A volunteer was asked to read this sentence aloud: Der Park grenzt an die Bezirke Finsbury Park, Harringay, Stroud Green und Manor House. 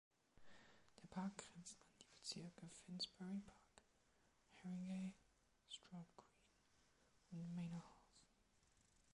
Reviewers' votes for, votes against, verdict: 1, 2, rejected